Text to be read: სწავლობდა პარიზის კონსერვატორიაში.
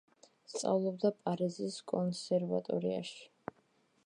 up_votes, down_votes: 2, 0